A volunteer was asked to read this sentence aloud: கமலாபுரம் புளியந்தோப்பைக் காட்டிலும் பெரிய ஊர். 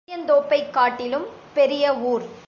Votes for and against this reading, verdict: 0, 2, rejected